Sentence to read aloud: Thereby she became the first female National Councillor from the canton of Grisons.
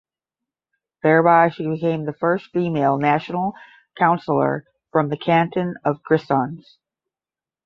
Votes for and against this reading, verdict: 10, 0, accepted